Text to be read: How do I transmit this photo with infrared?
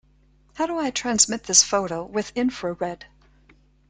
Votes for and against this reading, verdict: 2, 0, accepted